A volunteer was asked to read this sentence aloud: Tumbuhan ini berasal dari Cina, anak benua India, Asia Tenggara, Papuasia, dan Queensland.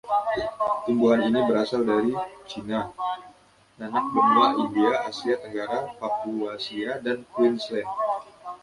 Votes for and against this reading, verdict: 0, 2, rejected